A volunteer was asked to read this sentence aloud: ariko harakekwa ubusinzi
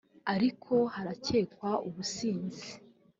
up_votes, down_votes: 3, 0